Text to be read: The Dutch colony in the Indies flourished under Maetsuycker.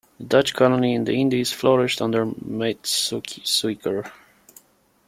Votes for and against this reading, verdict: 1, 2, rejected